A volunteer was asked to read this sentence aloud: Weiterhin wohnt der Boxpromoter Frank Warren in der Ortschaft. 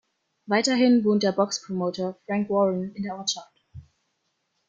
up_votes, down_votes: 1, 2